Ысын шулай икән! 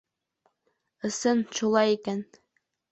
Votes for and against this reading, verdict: 2, 0, accepted